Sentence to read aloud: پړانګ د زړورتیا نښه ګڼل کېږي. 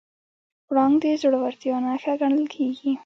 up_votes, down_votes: 1, 2